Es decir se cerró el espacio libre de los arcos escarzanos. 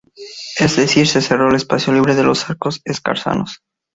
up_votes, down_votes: 2, 0